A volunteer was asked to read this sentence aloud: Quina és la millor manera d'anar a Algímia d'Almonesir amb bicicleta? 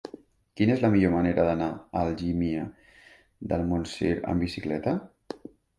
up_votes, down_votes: 1, 2